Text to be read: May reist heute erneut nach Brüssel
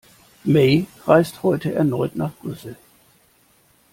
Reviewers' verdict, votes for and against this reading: accepted, 2, 0